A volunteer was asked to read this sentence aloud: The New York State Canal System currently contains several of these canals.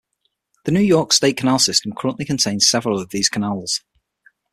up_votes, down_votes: 6, 0